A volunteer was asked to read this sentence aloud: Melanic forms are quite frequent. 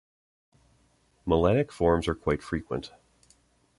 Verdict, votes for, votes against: accepted, 2, 0